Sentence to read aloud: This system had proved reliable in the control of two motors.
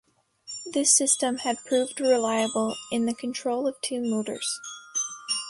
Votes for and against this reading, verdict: 1, 2, rejected